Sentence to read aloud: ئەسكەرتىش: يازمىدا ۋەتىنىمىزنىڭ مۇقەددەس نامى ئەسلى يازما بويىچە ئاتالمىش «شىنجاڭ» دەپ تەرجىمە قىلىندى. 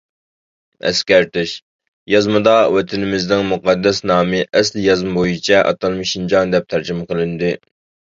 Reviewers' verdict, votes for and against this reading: accepted, 2, 0